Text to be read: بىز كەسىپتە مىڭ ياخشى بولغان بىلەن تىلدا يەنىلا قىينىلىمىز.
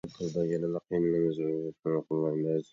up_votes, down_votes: 0, 2